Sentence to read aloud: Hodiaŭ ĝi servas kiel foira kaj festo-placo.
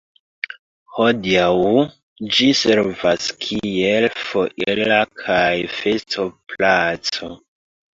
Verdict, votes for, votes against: rejected, 1, 2